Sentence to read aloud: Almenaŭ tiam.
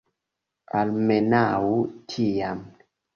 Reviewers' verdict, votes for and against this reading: accepted, 2, 0